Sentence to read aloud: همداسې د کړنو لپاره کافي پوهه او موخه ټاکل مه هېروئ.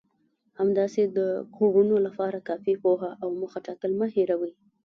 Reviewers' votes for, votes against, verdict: 0, 2, rejected